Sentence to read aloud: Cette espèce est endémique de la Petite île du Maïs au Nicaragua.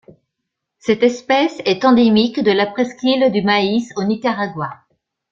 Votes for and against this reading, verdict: 0, 2, rejected